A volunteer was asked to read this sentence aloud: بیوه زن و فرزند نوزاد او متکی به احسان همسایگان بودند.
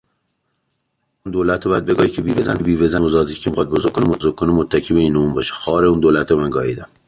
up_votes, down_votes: 0, 2